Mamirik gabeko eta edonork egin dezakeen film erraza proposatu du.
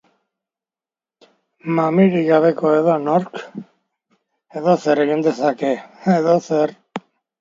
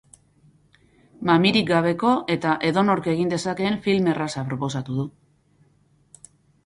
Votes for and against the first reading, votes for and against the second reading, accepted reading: 0, 2, 6, 0, second